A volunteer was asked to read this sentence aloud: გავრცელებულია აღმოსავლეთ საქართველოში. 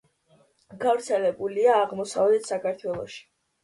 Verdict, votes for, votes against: accepted, 2, 0